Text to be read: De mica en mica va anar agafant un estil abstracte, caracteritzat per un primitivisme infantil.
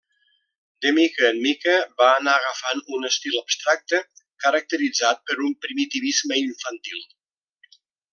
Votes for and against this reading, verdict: 2, 0, accepted